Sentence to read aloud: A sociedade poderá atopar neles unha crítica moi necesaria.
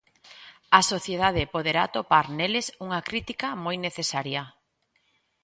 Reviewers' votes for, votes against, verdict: 2, 0, accepted